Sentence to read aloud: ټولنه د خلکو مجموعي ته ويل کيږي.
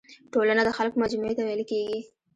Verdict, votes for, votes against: accepted, 2, 0